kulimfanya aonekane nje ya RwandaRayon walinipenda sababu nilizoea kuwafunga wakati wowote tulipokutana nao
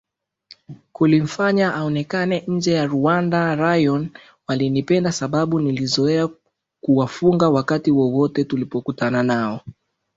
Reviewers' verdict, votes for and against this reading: accepted, 3, 0